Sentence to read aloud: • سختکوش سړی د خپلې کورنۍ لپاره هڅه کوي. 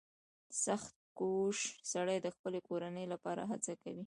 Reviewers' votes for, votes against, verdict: 2, 1, accepted